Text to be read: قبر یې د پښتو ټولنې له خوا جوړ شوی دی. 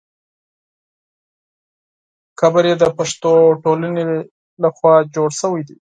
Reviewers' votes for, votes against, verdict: 4, 0, accepted